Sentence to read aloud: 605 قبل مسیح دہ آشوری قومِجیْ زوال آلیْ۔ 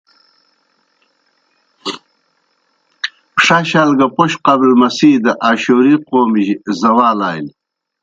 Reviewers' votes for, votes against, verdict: 0, 2, rejected